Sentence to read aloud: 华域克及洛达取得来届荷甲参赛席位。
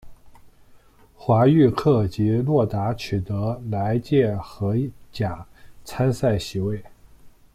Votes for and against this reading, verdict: 1, 2, rejected